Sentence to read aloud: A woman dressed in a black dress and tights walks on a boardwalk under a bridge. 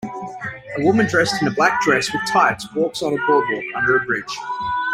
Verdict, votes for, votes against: rejected, 0, 2